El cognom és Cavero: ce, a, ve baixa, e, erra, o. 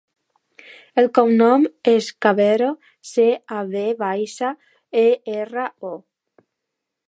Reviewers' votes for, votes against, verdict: 1, 2, rejected